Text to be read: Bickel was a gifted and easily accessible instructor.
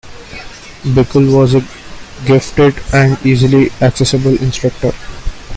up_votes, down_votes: 2, 0